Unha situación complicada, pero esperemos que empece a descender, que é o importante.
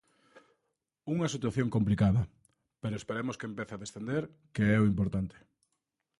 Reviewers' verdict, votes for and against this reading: accepted, 2, 0